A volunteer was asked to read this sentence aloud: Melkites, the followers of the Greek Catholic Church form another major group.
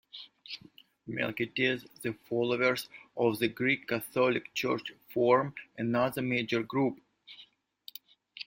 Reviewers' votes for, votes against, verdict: 1, 2, rejected